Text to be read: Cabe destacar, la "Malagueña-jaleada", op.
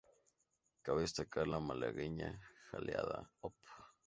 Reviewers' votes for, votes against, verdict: 0, 2, rejected